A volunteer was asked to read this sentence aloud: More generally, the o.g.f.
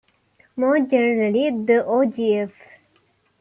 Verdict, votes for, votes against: accepted, 2, 0